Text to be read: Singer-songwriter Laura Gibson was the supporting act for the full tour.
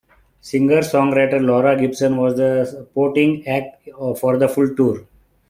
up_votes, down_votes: 1, 3